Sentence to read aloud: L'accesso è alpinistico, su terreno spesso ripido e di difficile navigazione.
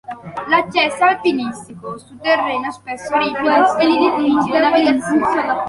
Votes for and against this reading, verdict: 0, 2, rejected